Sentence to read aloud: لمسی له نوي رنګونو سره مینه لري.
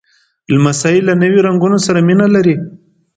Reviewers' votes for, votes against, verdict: 2, 0, accepted